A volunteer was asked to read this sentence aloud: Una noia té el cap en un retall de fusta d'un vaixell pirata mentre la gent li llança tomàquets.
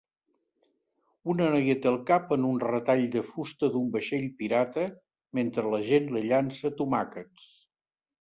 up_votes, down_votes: 3, 0